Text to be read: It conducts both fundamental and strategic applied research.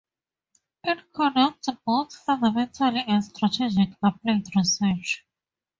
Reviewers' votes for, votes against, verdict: 0, 4, rejected